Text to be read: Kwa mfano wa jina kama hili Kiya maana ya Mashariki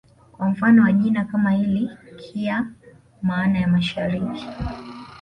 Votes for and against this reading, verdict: 1, 2, rejected